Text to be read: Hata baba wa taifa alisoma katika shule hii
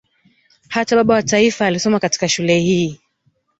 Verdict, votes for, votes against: accepted, 8, 0